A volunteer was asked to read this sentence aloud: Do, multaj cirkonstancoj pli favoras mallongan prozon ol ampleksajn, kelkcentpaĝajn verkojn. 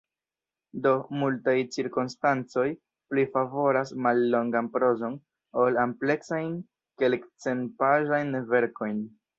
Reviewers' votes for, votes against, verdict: 1, 2, rejected